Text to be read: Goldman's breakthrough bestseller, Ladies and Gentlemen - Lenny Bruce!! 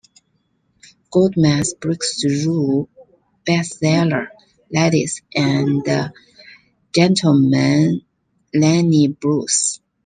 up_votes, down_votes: 2, 0